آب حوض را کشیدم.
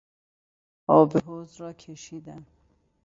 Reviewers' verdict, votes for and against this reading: accepted, 2, 0